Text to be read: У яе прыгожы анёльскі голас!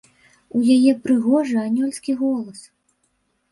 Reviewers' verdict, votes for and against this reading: accepted, 2, 0